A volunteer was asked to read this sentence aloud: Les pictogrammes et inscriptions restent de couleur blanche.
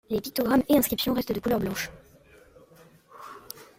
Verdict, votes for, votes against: accepted, 2, 0